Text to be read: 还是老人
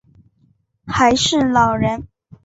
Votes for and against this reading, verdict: 2, 0, accepted